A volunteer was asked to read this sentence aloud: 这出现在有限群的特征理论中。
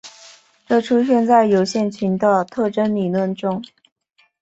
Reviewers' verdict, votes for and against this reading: accepted, 4, 0